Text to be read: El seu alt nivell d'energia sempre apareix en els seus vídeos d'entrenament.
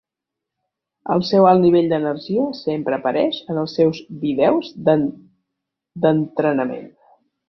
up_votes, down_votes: 0, 2